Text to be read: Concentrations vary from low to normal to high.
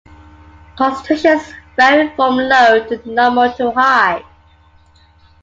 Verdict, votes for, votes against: accepted, 2, 0